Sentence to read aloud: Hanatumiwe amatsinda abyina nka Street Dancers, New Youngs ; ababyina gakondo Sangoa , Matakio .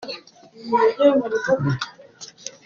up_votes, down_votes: 0, 2